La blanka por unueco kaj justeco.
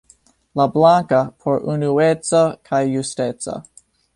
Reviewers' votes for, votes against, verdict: 2, 0, accepted